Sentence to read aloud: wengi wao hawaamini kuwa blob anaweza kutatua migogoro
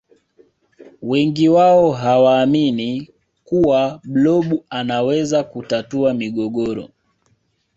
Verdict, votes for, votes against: accepted, 3, 0